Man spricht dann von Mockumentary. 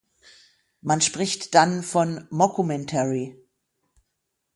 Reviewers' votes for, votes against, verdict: 6, 0, accepted